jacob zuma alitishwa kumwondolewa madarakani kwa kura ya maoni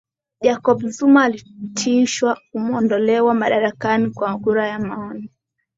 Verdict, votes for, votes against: accepted, 2, 0